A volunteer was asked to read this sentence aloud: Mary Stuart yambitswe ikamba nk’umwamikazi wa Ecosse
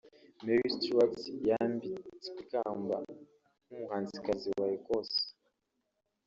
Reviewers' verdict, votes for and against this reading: rejected, 0, 2